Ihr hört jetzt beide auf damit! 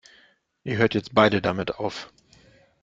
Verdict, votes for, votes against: rejected, 0, 2